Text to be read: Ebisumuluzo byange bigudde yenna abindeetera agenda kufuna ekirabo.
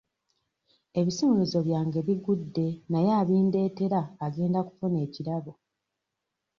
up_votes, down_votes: 1, 2